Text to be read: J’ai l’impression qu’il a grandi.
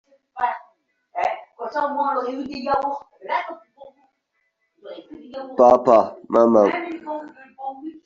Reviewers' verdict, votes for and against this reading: rejected, 0, 2